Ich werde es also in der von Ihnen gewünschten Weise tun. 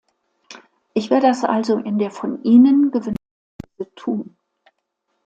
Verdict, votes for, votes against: rejected, 0, 2